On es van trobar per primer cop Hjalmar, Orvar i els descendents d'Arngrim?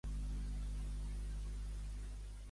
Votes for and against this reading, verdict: 1, 2, rejected